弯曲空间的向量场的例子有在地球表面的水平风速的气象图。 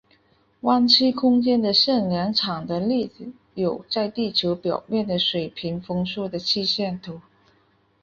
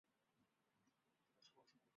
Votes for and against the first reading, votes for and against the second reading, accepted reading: 4, 2, 0, 2, first